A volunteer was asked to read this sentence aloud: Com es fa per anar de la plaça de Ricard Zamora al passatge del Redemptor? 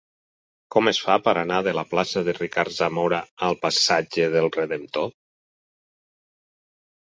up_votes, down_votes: 6, 0